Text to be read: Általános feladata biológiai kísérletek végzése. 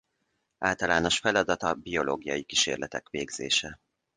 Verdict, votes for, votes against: accepted, 2, 0